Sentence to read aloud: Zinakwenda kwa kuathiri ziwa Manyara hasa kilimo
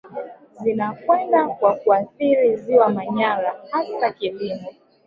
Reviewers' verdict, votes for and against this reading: rejected, 1, 2